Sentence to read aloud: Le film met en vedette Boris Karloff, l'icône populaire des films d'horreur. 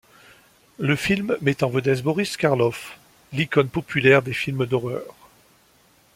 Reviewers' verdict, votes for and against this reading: accepted, 2, 0